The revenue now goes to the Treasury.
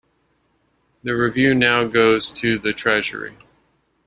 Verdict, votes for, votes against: rejected, 1, 2